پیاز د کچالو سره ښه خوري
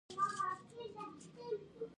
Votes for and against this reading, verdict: 1, 2, rejected